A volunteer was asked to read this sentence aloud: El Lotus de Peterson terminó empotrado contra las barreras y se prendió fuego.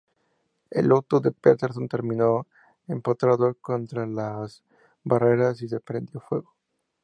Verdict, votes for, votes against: accepted, 4, 0